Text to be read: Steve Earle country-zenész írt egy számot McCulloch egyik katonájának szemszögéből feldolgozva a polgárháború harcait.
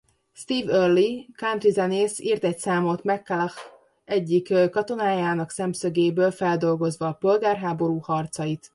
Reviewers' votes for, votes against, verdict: 1, 2, rejected